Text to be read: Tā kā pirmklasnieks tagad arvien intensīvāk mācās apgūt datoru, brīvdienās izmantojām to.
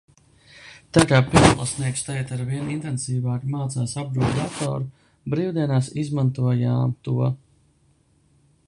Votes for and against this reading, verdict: 0, 2, rejected